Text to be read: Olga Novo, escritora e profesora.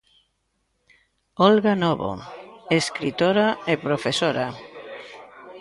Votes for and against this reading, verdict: 1, 2, rejected